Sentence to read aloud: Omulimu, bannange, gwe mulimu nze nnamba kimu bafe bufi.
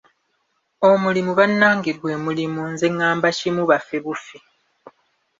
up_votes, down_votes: 1, 2